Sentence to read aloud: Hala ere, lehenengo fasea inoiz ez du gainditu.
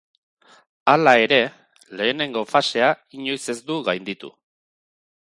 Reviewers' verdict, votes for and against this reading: accepted, 2, 0